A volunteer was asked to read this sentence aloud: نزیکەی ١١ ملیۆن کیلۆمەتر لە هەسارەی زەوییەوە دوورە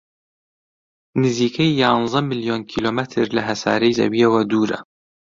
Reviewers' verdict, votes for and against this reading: rejected, 0, 2